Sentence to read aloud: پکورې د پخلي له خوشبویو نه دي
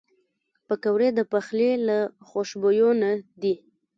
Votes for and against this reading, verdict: 1, 2, rejected